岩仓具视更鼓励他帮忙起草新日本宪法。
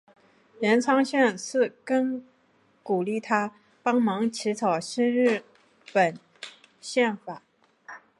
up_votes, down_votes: 1, 3